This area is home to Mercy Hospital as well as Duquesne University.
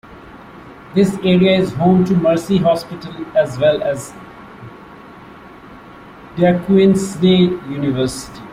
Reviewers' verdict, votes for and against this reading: rejected, 0, 2